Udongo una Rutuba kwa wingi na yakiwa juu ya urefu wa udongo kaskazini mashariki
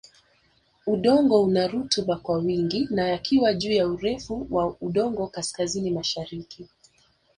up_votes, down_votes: 3, 0